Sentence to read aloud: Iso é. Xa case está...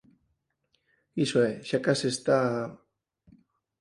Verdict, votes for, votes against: accepted, 4, 0